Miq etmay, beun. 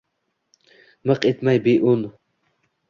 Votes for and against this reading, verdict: 1, 2, rejected